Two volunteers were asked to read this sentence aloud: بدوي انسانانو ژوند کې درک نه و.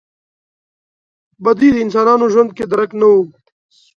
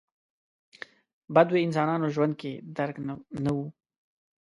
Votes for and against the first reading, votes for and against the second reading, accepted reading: 2, 1, 1, 2, first